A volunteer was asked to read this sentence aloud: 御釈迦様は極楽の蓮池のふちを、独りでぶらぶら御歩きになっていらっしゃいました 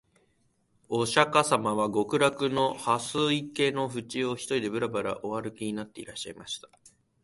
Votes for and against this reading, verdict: 2, 0, accepted